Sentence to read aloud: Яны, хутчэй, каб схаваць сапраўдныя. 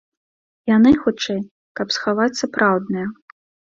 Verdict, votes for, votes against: accepted, 2, 0